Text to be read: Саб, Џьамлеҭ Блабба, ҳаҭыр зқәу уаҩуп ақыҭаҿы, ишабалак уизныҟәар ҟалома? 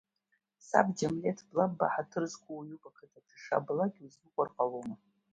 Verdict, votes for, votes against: rejected, 0, 2